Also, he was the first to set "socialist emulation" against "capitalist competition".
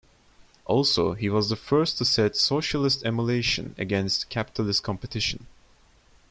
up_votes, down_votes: 1, 2